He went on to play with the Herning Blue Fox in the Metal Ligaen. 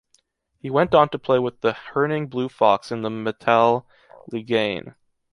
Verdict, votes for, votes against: rejected, 0, 2